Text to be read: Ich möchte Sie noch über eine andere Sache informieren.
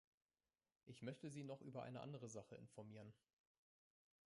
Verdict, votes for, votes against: rejected, 1, 2